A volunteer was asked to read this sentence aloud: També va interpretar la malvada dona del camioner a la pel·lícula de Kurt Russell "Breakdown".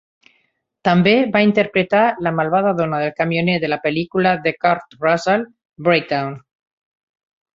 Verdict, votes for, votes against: rejected, 0, 2